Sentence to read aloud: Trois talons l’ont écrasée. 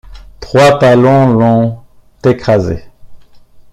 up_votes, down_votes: 2, 1